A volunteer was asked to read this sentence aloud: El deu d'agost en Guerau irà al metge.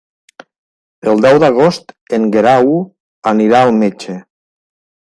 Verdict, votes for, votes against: rejected, 0, 2